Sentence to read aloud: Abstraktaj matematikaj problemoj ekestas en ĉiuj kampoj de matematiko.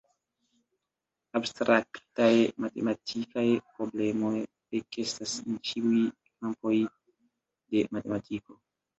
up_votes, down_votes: 0, 2